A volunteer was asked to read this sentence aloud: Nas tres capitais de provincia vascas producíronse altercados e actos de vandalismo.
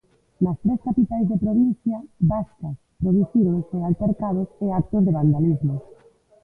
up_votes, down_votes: 1, 2